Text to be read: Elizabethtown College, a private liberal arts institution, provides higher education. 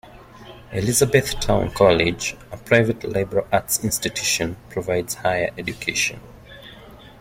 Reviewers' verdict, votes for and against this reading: accepted, 2, 1